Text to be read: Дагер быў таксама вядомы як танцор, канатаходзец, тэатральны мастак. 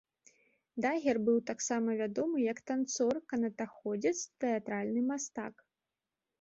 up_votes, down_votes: 2, 0